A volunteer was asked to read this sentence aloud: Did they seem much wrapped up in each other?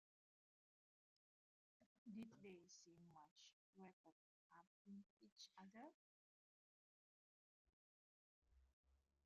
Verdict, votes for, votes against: rejected, 0, 2